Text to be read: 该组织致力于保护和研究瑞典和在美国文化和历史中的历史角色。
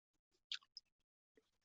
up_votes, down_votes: 0, 4